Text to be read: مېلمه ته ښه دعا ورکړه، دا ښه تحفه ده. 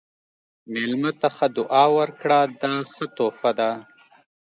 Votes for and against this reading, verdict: 2, 0, accepted